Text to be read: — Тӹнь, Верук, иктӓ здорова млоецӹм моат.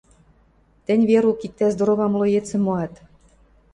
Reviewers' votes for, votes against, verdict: 2, 0, accepted